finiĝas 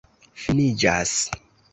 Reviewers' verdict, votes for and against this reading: accepted, 2, 0